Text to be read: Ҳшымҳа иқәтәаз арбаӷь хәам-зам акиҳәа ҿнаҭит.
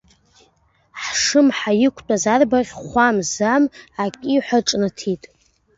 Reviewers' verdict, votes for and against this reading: accepted, 2, 1